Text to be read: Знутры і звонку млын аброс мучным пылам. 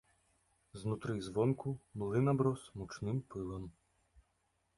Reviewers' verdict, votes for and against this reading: accepted, 2, 0